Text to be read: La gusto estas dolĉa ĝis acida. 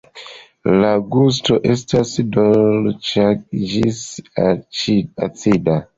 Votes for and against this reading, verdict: 1, 2, rejected